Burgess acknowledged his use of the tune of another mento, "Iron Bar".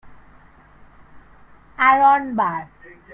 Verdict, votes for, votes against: rejected, 0, 2